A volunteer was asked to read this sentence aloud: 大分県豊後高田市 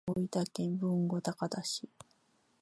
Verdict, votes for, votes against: accepted, 2, 0